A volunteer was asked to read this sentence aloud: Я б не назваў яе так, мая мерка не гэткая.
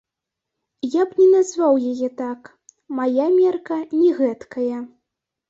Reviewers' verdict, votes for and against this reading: accepted, 2, 0